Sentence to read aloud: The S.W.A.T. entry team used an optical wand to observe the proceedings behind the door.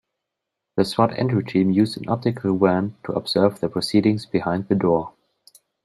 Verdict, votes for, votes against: rejected, 1, 2